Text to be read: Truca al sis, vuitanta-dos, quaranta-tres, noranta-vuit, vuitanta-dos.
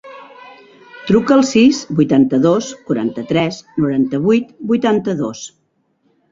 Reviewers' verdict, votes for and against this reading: rejected, 1, 2